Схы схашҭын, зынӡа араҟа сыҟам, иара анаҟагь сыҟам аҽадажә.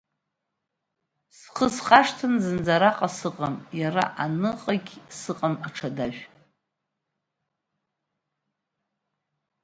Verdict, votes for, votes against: rejected, 1, 2